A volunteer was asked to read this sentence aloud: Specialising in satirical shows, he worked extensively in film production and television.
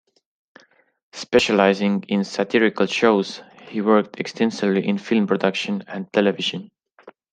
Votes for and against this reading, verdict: 2, 0, accepted